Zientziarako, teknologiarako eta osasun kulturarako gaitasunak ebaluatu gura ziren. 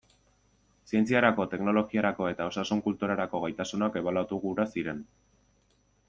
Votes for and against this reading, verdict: 2, 0, accepted